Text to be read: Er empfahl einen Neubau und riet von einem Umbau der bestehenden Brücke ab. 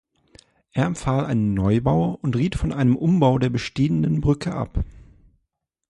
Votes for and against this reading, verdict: 2, 0, accepted